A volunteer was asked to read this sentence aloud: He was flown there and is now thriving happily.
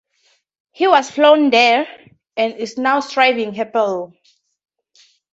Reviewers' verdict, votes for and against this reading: accepted, 2, 0